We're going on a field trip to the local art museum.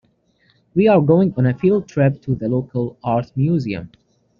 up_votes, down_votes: 0, 2